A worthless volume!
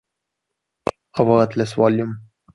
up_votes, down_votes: 2, 0